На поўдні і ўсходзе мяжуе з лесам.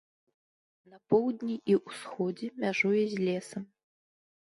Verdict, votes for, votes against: rejected, 0, 2